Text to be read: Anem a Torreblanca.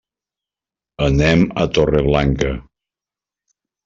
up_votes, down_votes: 2, 0